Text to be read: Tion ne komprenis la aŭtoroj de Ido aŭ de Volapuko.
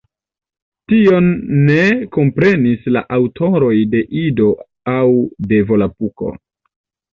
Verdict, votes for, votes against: accepted, 2, 0